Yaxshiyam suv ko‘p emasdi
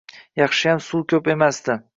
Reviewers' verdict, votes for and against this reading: accepted, 2, 0